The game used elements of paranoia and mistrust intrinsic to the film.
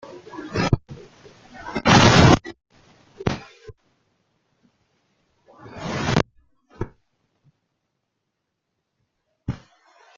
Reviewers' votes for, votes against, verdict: 0, 2, rejected